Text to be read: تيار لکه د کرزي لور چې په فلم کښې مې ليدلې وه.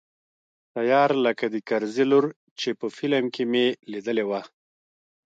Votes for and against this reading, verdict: 2, 1, accepted